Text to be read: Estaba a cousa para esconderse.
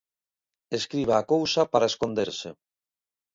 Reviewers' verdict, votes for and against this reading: rejected, 0, 2